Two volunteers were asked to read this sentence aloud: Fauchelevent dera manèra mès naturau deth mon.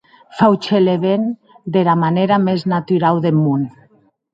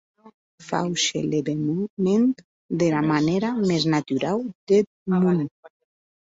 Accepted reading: first